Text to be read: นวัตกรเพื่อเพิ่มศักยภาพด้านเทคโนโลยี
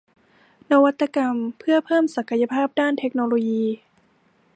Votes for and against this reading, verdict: 0, 2, rejected